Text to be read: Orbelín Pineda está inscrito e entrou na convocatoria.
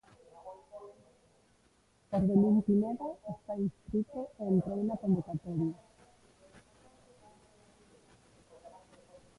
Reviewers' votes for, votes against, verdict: 1, 2, rejected